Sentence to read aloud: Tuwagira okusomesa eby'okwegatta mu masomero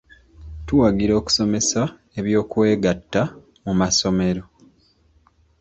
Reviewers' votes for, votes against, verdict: 1, 2, rejected